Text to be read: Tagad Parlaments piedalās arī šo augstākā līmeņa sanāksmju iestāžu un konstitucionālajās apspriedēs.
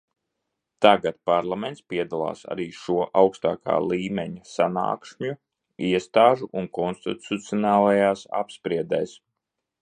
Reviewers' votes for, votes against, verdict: 1, 2, rejected